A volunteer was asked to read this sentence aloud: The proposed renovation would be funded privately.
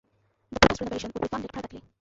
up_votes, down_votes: 0, 2